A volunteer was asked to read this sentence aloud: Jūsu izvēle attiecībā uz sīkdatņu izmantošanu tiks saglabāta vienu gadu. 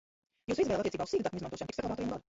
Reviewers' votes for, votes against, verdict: 0, 2, rejected